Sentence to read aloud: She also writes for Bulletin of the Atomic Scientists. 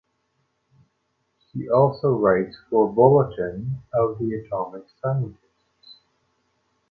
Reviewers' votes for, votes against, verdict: 0, 2, rejected